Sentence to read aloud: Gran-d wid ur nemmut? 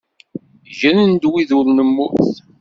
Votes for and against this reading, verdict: 1, 2, rejected